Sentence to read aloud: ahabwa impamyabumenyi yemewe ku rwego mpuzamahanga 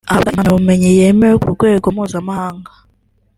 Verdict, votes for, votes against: accepted, 3, 0